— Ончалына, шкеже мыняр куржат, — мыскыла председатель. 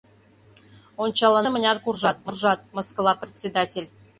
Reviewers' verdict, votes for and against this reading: rejected, 0, 2